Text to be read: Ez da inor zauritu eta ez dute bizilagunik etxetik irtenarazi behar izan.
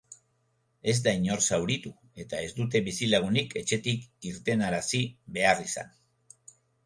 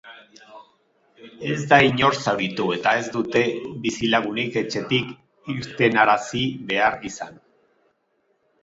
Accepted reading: first